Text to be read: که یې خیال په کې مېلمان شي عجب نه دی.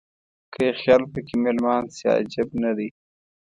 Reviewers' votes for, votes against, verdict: 2, 1, accepted